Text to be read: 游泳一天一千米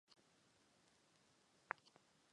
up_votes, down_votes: 0, 2